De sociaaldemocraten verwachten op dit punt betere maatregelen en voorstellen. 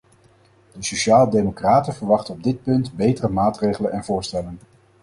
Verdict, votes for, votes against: accepted, 4, 0